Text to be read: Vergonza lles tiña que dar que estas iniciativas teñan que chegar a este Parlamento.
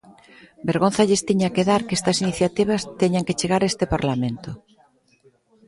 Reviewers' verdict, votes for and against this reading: accepted, 2, 0